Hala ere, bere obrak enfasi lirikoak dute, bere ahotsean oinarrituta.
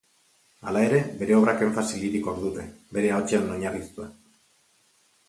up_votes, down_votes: 2, 2